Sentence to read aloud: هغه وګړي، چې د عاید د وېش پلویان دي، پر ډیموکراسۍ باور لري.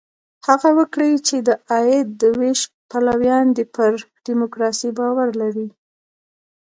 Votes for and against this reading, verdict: 1, 2, rejected